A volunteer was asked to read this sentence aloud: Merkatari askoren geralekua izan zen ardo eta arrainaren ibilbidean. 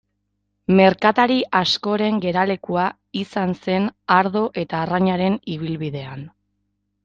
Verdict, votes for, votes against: accepted, 2, 0